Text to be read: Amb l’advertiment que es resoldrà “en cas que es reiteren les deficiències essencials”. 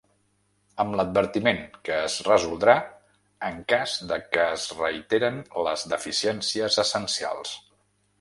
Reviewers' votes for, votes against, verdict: 0, 2, rejected